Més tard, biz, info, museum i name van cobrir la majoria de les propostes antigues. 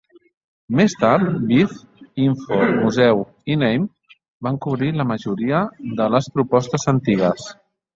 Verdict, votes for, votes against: rejected, 1, 2